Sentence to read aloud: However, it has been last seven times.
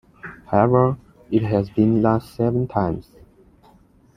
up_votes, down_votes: 2, 0